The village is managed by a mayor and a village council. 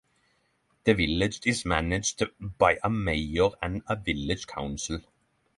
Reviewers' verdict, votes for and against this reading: accepted, 6, 0